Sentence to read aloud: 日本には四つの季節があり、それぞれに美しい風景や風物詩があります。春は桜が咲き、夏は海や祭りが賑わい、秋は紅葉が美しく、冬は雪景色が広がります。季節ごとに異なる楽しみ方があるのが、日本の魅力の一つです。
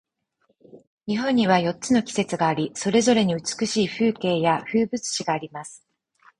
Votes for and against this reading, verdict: 0, 4, rejected